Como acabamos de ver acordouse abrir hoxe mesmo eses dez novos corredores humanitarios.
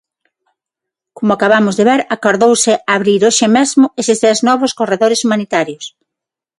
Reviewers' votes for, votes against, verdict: 3, 3, rejected